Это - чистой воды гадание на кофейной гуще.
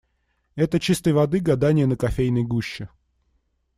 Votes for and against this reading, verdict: 2, 0, accepted